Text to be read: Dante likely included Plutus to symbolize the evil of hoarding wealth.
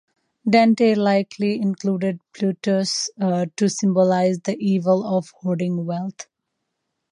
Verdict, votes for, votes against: accepted, 2, 0